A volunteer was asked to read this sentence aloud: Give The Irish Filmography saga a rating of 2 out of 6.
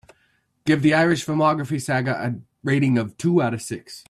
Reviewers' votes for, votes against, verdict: 0, 2, rejected